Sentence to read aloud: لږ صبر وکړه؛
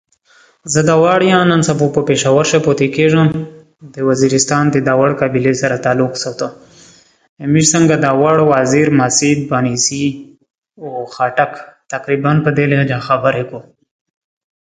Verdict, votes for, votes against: rejected, 0, 2